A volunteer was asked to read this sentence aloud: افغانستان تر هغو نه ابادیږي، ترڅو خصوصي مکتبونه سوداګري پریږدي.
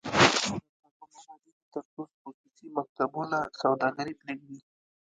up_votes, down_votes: 1, 2